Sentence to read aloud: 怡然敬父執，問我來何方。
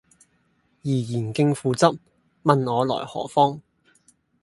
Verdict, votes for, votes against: accepted, 2, 0